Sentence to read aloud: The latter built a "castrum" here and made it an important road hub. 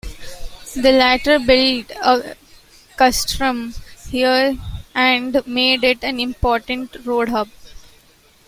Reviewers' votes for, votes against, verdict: 2, 1, accepted